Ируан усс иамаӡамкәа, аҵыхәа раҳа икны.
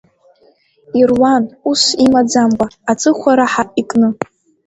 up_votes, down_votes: 2, 1